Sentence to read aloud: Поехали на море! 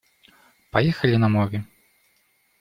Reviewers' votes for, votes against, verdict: 2, 0, accepted